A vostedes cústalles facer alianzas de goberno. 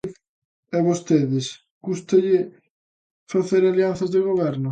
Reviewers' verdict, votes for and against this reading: rejected, 0, 2